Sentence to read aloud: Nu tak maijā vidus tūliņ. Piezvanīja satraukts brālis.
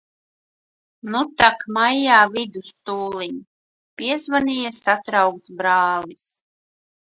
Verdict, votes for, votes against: accepted, 2, 0